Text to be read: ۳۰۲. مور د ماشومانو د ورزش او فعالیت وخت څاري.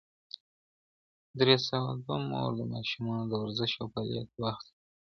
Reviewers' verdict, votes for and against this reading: rejected, 0, 2